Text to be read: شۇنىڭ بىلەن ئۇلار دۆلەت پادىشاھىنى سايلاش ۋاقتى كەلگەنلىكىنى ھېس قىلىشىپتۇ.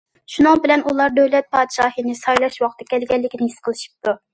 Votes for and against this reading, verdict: 2, 0, accepted